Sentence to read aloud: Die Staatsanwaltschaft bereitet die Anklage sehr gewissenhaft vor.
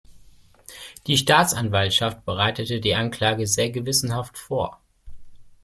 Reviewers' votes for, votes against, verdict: 1, 2, rejected